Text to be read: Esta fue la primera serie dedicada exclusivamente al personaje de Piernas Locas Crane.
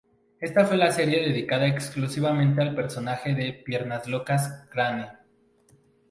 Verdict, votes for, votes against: rejected, 0, 4